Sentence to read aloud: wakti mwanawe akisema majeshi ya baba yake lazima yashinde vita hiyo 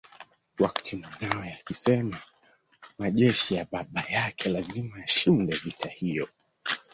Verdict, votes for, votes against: rejected, 1, 2